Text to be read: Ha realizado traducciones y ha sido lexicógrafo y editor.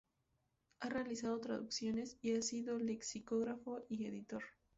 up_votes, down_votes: 0, 2